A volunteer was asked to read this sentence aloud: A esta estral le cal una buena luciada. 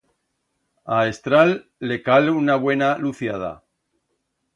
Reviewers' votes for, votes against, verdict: 1, 2, rejected